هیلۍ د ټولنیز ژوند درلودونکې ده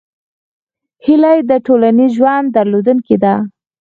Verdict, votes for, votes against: rejected, 0, 4